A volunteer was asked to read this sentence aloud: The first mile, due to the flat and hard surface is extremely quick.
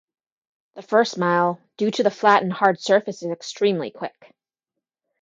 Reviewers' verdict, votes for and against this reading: accepted, 3, 0